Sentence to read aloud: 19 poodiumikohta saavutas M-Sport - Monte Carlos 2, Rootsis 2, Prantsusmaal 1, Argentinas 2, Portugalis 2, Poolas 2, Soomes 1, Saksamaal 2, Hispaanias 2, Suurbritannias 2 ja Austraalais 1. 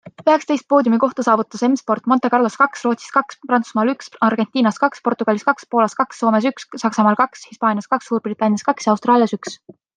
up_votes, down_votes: 0, 2